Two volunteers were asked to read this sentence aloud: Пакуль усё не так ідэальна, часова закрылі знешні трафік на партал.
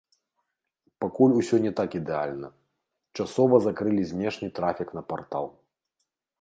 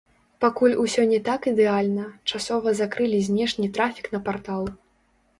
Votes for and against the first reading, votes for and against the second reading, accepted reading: 2, 0, 1, 2, first